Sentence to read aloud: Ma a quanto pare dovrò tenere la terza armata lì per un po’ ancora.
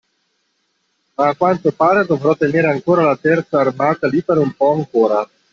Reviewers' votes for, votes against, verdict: 0, 2, rejected